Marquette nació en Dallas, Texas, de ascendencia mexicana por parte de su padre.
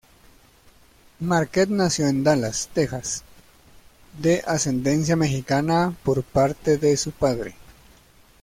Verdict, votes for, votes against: accepted, 2, 0